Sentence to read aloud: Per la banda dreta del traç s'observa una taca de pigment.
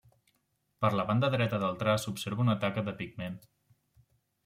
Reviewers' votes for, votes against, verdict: 2, 0, accepted